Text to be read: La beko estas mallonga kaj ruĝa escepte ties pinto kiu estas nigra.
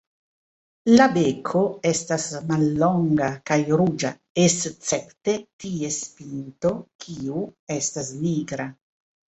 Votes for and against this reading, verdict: 2, 0, accepted